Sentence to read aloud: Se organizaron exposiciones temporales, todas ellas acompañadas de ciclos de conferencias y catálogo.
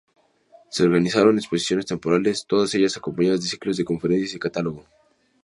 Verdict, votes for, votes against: accepted, 2, 0